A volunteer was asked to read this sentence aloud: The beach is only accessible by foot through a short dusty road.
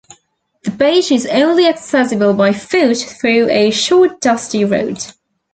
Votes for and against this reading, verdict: 2, 0, accepted